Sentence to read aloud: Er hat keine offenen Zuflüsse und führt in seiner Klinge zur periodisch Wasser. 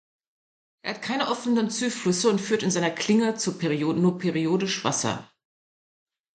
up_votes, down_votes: 0, 2